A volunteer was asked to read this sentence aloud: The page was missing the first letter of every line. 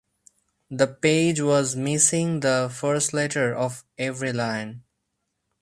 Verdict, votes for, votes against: accepted, 2, 0